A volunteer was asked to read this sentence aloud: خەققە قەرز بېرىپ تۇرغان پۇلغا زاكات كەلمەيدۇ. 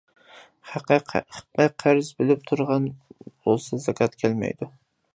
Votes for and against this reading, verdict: 0, 2, rejected